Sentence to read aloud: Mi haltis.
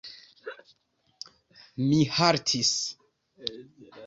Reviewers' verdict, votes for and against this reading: rejected, 1, 3